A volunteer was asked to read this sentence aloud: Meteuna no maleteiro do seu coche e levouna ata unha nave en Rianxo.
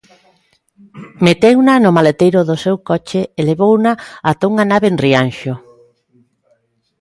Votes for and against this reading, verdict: 2, 0, accepted